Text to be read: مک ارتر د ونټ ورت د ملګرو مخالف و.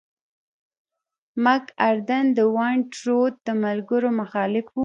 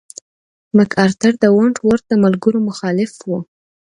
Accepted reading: second